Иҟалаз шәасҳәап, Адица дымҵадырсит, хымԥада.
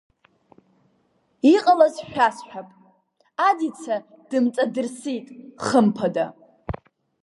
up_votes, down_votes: 1, 2